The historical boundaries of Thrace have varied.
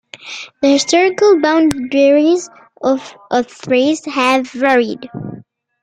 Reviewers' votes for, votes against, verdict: 2, 1, accepted